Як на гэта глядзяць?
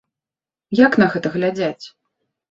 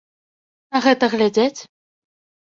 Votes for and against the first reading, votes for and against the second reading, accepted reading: 2, 0, 1, 2, first